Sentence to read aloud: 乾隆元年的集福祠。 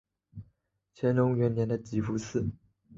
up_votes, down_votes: 2, 0